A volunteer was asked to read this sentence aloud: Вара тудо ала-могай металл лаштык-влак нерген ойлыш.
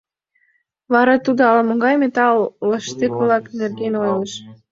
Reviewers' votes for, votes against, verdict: 0, 2, rejected